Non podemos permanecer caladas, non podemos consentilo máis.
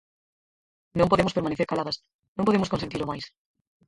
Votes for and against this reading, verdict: 0, 4, rejected